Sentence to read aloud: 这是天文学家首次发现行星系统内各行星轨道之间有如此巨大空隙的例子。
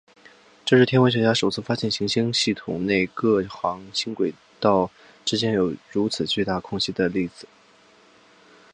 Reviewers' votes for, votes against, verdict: 2, 0, accepted